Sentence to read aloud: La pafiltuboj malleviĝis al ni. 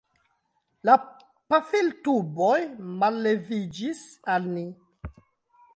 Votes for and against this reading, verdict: 0, 2, rejected